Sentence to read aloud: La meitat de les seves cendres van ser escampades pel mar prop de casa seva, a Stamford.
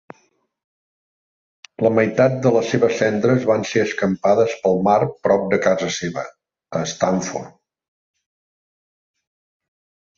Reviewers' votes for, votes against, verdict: 2, 0, accepted